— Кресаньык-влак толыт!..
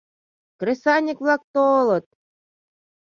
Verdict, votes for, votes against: accepted, 2, 1